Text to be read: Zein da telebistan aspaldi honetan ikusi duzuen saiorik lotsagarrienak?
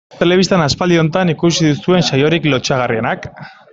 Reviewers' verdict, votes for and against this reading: rejected, 0, 2